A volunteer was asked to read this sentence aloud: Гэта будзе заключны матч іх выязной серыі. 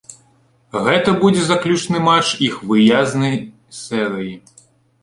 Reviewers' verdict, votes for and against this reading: rejected, 1, 2